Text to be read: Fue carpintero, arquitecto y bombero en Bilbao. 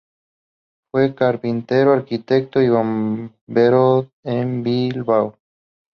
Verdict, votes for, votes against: rejected, 0, 2